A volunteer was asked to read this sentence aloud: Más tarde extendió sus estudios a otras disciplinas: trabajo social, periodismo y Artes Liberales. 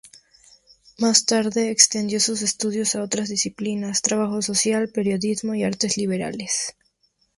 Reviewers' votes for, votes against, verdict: 2, 0, accepted